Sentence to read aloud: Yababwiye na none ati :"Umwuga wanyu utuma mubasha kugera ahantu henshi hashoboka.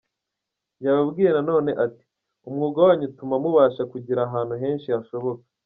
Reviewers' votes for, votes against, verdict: 3, 0, accepted